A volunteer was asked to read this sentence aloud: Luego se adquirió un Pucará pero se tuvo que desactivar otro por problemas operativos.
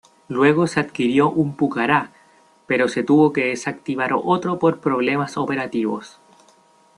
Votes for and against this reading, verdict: 2, 0, accepted